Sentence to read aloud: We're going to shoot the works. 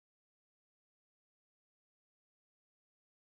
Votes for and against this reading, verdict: 0, 2, rejected